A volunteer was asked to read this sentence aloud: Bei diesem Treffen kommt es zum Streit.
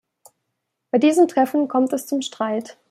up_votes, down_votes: 2, 0